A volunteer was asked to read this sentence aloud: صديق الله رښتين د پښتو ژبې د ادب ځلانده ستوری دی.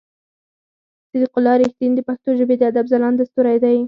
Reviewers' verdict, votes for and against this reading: rejected, 0, 4